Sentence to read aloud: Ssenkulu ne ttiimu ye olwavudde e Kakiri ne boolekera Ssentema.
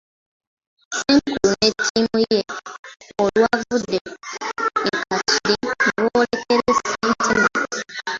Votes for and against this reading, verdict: 0, 2, rejected